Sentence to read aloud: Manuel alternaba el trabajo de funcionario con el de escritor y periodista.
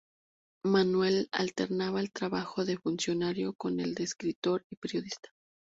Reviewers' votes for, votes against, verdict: 2, 0, accepted